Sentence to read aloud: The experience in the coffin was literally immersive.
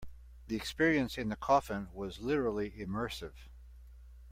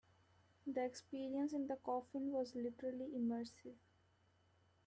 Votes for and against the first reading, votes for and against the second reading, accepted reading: 2, 0, 0, 2, first